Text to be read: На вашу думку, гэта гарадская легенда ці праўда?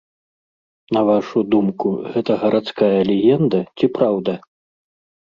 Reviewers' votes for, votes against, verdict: 2, 0, accepted